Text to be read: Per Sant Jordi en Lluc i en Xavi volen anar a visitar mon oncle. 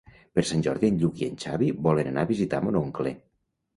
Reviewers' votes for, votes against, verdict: 3, 0, accepted